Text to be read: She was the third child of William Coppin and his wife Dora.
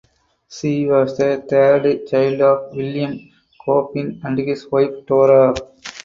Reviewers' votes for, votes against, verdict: 2, 4, rejected